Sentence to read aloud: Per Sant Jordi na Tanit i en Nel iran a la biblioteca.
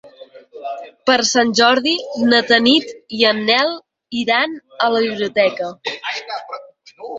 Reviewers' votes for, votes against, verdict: 6, 2, accepted